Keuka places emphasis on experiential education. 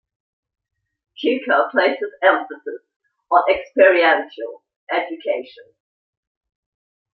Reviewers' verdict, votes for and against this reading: accepted, 2, 0